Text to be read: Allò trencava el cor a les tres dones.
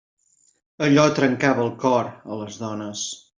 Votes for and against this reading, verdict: 0, 2, rejected